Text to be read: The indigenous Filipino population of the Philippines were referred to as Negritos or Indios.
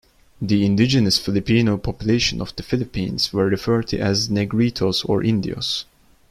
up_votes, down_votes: 2, 0